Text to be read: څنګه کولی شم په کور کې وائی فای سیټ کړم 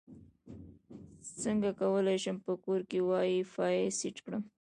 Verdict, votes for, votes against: rejected, 1, 2